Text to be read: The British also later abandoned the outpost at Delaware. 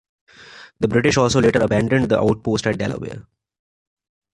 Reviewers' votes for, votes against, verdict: 2, 0, accepted